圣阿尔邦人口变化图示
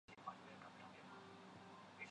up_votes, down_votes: 0, 3